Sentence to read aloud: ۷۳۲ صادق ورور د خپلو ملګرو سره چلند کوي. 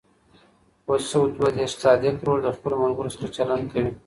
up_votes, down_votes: 0, 2